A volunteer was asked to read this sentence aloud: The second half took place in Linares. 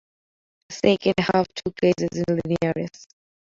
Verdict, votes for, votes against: accepted, 2, 0